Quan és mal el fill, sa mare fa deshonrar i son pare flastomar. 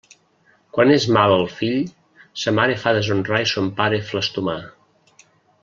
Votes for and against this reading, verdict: 2, 0, accepted